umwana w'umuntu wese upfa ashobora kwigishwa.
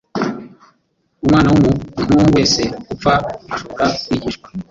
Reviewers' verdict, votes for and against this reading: accepted, 2, 1